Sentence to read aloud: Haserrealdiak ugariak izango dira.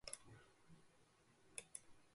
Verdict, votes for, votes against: rejected, 0, 2